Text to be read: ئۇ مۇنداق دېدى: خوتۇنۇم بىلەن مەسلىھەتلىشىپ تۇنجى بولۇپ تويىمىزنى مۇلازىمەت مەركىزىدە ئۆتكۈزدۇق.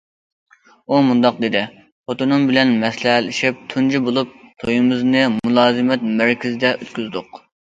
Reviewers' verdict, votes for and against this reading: accepted, 2, 0